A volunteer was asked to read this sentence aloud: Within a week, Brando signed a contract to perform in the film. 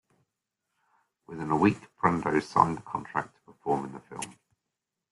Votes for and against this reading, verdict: 2, 0, accepted